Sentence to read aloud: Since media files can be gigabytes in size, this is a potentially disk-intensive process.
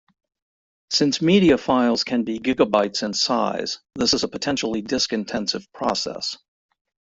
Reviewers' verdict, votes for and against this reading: accepted, 2, 1